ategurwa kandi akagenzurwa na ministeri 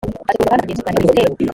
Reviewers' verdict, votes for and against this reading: rejected, 0, 2